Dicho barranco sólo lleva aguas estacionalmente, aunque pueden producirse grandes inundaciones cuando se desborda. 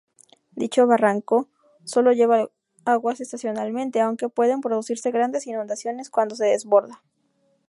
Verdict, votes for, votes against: rejected, 0, 2